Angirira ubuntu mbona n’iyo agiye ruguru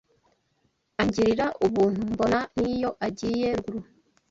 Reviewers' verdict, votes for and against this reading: rejected, 1, 2